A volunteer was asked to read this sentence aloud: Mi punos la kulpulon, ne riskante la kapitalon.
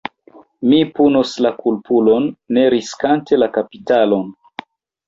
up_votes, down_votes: 2, 0